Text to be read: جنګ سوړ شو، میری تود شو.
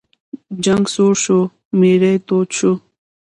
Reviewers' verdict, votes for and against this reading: accepted, 2, 1